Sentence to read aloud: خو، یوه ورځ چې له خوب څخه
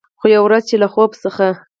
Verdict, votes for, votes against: accepted, 4, 0